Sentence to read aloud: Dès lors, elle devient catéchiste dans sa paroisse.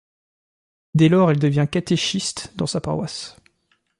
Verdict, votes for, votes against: accepted, 2, 0